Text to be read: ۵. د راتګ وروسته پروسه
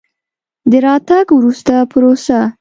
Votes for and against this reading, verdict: 0, 2, rejected